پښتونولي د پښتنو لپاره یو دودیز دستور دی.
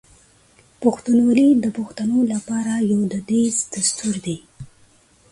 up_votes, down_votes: 2, 0